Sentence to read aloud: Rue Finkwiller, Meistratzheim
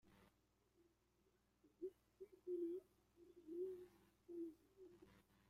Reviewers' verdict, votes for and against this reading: rejected, 0, 2